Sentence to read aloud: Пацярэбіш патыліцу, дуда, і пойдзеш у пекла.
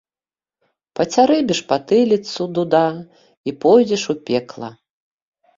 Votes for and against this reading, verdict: 2, 0, accepted